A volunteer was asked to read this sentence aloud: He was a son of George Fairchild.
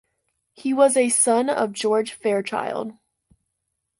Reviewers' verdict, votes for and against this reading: accepted, 3, 0